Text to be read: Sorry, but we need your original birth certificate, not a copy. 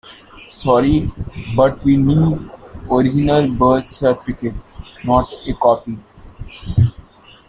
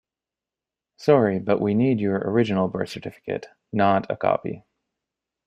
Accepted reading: second